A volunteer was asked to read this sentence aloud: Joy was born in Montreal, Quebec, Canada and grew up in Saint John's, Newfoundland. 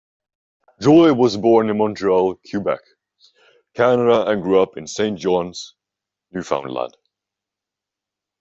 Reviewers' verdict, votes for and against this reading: accepted, 2, 0